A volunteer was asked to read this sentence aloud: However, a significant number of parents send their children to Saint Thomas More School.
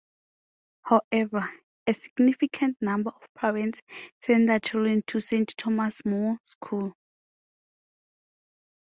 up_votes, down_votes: 2, 1